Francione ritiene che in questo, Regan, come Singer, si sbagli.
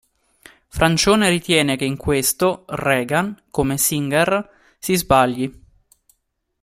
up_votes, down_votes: 2, 0